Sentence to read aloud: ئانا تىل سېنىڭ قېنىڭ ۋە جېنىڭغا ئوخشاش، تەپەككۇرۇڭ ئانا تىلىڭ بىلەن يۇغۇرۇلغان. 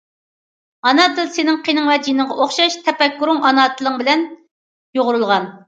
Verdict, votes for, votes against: accepted, 2, 0